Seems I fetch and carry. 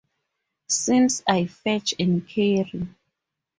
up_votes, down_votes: 2, 2